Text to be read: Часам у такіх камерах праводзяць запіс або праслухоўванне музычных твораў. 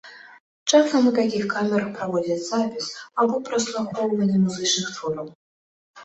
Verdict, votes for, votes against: accepted, 2, 0